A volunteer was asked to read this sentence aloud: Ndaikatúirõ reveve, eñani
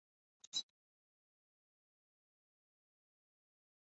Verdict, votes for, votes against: rejected, 0, 2